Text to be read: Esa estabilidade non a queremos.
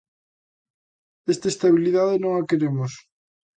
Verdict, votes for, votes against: rejected, 0, 2